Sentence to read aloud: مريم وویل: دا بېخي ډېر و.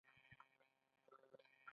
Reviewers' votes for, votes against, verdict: 1, 2, rejected